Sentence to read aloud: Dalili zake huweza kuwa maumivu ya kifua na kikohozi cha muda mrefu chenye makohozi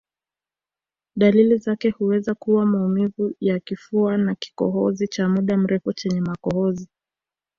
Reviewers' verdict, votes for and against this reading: accepted, 2, 0